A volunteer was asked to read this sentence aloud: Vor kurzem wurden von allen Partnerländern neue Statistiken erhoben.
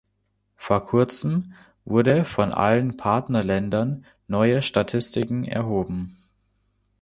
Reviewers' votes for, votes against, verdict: 0, 2, rejected